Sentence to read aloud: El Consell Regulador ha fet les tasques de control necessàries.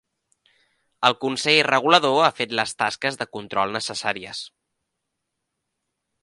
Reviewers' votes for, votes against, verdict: 3, 0, accepted